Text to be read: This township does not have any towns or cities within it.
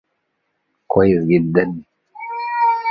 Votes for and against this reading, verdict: 0, 2, rejected